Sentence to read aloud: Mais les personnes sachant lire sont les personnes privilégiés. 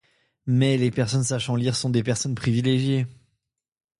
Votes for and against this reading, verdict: 0, 2, rejected